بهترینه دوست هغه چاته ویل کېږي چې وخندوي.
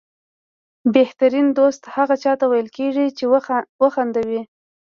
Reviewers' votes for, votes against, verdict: 1, 2, rejected